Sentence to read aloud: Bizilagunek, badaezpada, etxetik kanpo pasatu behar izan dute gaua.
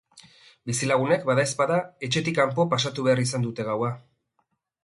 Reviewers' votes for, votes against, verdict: 2, 0, accepted